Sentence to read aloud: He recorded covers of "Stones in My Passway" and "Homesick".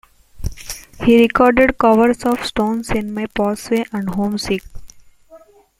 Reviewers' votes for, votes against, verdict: 1, 2, rejected